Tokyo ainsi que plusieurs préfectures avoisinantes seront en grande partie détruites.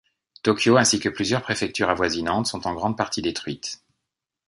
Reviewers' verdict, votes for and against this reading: rejected, 0, 2